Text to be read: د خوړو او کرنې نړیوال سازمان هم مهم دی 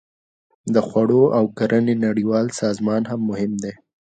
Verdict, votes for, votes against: accepted, 2, 0